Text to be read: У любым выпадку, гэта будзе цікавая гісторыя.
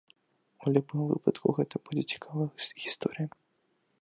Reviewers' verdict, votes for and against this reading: rejected, 0, 2